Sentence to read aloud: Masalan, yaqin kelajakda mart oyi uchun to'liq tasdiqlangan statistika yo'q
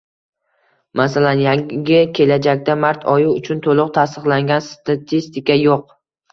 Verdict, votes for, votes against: accepted, 2, 0